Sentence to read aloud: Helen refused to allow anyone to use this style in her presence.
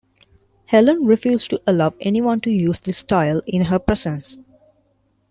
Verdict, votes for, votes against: accepted, 2, 0